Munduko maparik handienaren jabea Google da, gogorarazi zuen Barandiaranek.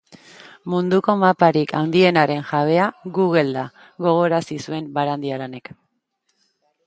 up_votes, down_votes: 1, 2